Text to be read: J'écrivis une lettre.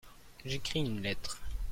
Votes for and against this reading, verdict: 0, 2, rejected